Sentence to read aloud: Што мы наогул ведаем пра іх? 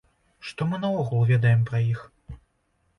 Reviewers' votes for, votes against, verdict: 2, 0, accepted